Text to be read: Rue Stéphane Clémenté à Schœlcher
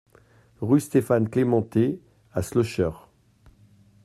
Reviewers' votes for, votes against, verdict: 1, 2, rejected